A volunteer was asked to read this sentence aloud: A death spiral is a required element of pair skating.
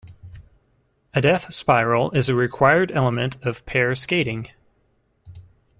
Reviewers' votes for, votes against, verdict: 2, 0, accepted